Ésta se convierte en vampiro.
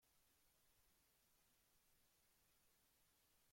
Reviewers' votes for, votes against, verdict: 0, 2, rejected